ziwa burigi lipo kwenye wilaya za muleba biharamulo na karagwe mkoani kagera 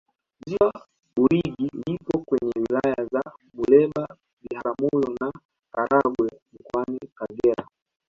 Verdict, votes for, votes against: rejected, 0, 2